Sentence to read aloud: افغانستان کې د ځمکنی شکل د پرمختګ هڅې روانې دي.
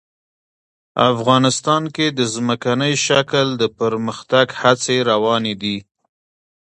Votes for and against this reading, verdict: 2, 1, accepted